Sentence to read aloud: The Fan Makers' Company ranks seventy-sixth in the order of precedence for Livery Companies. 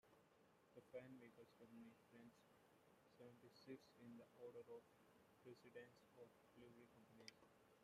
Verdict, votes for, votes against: rejected, 0, 2